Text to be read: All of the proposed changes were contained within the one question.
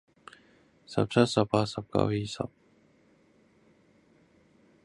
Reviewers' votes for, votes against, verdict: 0, 2, rejected